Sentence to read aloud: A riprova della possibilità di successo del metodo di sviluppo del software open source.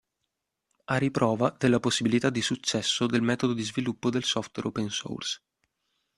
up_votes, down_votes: 2, 0